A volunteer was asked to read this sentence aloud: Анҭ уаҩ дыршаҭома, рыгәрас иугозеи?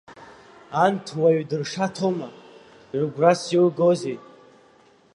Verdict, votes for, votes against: accepted, 2, 0